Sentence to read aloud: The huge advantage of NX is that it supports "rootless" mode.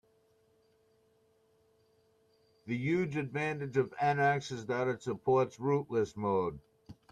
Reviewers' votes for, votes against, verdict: 2, 0, accepted